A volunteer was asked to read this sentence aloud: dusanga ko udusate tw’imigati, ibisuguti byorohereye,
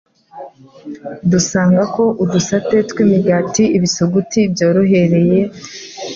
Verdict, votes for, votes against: accepted, 3, 0